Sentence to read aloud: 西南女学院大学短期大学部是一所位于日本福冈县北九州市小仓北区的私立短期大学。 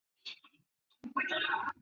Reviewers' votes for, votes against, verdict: 0, 7, rejected